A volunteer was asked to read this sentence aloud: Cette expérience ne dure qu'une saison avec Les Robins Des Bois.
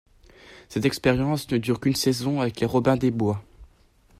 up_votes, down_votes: 2, 0